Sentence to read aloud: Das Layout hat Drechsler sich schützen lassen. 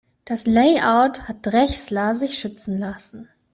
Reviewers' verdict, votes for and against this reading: accepted, 2, 0